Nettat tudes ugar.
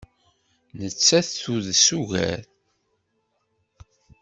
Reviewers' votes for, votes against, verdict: 2, 0, accepted